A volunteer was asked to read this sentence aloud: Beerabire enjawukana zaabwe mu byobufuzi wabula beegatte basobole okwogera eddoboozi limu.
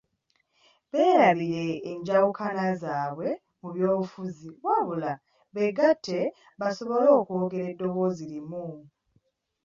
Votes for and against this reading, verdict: 2, 0, accepted